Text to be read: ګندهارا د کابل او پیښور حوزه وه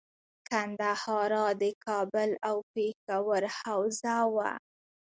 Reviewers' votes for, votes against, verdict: 0, 2, rejected